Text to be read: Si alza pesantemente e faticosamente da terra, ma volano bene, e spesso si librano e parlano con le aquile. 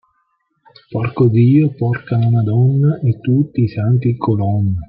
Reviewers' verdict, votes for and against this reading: rejected, 0, 2